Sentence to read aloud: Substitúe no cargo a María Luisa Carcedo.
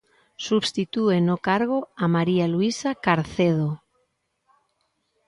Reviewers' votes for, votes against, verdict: 2, 0, accepted